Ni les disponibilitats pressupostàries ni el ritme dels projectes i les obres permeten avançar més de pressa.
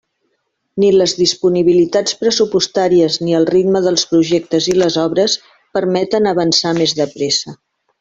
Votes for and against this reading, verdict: 3, 0, accepted